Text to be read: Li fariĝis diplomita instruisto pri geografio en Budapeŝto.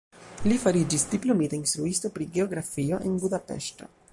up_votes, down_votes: 1, 2